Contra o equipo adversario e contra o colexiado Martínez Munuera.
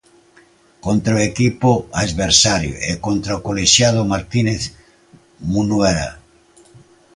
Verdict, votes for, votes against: accepted, 2, 1